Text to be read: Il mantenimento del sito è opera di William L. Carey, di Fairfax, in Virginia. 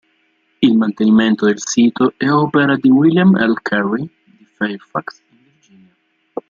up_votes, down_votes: 0, 2